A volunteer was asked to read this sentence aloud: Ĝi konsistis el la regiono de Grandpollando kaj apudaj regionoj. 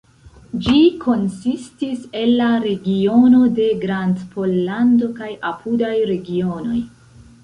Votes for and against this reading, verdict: 0, 3, rejected